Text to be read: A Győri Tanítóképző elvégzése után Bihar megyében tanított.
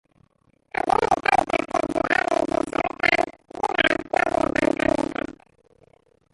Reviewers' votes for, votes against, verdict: 0, 2, rejected